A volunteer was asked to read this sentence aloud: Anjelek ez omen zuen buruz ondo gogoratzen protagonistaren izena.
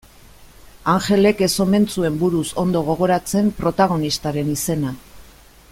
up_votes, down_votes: 2, 0